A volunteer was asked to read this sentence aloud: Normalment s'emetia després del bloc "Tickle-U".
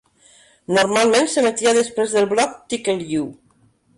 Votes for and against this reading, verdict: 2, 1, accepted